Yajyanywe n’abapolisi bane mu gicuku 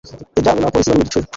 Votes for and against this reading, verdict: 0, 2, rejected